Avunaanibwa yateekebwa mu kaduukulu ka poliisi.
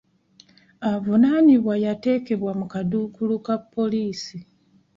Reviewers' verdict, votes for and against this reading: accepted, 2, 0